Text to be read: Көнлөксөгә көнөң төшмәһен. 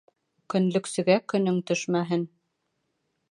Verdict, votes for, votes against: accepted, 3, 0